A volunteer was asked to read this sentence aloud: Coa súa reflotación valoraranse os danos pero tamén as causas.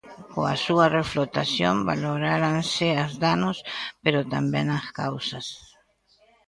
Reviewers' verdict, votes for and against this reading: rejected, 0, 2